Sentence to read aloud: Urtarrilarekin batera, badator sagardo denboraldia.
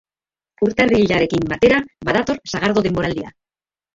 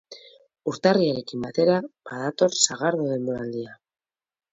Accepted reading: second